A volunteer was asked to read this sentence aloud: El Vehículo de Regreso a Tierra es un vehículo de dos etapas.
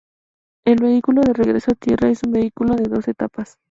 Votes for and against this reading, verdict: 4, 0, accepted